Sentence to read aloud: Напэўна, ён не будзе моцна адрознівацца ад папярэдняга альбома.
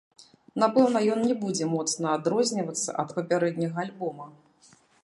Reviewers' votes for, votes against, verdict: 1, 2, rejected